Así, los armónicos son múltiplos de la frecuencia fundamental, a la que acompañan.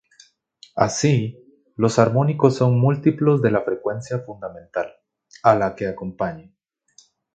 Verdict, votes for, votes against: rejected, 0, 2